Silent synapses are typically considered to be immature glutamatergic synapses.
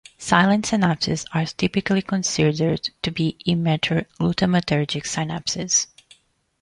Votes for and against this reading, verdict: 0, 2, rejected